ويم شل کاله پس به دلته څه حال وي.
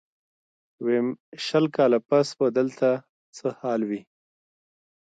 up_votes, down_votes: 2, 1